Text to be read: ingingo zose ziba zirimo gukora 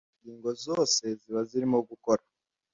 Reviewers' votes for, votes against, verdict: 2, 0, accepted